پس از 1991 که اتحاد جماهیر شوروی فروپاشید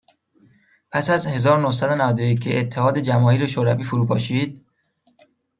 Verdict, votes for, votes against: rejected, 0, 2